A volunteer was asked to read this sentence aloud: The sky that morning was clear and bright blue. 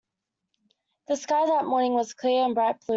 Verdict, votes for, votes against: rejected, 1, 2